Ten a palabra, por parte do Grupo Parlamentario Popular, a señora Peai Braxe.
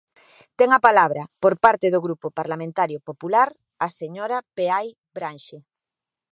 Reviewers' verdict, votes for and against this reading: rejected, 1, 2